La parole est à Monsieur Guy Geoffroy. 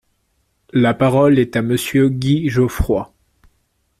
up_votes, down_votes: 2, 0